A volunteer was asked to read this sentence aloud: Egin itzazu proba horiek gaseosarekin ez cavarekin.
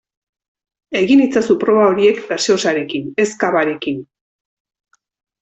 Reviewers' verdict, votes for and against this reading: accepted, 2, 0